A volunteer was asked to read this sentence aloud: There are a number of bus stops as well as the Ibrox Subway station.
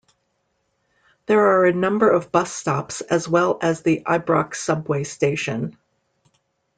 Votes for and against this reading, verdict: 2, 0, accepted